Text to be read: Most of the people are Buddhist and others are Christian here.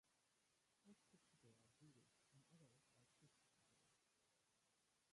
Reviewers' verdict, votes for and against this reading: rejected, 0, 3